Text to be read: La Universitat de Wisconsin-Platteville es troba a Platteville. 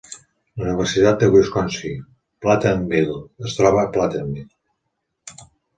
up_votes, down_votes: 1, 2